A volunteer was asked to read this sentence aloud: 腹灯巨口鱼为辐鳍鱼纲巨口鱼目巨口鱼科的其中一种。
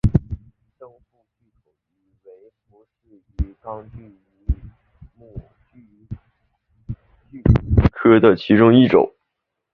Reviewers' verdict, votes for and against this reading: rejected, 0, 2